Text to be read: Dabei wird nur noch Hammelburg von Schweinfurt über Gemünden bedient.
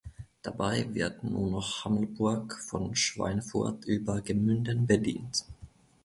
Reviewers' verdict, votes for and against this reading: accepted, 2, 0